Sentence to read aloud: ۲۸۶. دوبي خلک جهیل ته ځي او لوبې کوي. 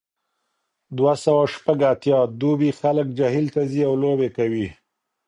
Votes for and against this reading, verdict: 0, 2, rejected